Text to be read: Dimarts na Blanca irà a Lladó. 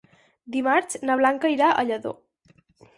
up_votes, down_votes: 4, 0